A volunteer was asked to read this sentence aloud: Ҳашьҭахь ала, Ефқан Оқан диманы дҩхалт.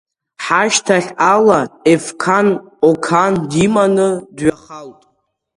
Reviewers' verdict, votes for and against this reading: accepted, 2, 0